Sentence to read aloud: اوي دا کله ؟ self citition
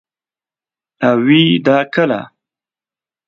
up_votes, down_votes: 0, 2